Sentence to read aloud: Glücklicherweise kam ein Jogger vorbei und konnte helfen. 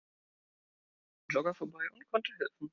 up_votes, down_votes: 0, 2